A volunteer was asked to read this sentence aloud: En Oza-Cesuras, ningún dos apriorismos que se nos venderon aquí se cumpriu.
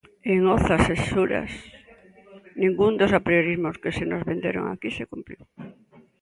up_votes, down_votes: 2, 1